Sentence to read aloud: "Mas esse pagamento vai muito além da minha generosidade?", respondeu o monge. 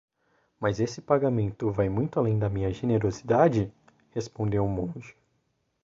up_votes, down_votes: 2, 0